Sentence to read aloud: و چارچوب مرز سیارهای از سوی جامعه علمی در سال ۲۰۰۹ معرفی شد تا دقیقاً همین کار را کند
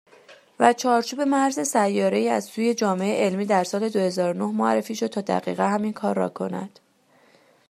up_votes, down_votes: 0, 2